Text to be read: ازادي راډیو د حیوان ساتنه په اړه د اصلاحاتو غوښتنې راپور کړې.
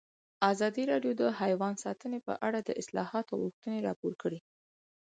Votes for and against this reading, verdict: 4, 2, accepted